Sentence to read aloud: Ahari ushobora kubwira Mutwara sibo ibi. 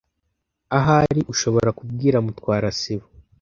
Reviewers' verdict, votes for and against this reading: rejected, 1, 2